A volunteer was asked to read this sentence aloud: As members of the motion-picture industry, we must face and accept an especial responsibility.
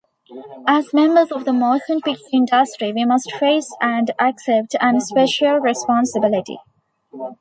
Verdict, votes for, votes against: rejected, 0, 2